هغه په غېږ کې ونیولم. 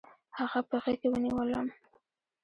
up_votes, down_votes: 1, 2